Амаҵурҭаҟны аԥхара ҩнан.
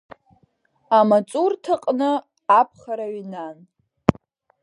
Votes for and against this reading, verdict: 0, 2, rejected